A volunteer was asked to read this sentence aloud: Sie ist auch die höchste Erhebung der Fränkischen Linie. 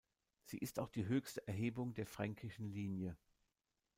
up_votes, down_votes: 1, 2